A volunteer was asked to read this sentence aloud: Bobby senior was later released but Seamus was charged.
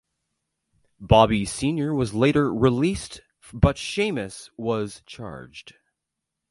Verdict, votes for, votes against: accepted, 2, 1